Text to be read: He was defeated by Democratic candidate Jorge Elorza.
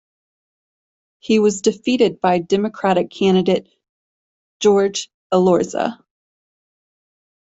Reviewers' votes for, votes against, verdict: 2, 0, accepted